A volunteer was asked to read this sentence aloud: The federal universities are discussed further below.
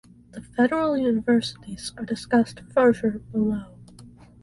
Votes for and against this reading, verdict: 0, 2, rejected